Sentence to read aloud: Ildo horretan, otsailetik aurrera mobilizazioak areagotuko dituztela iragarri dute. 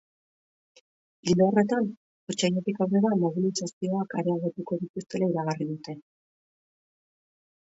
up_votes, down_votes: 1, 2